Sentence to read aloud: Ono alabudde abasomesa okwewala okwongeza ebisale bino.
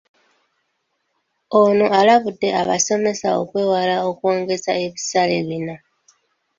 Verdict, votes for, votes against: accepted, 2, 1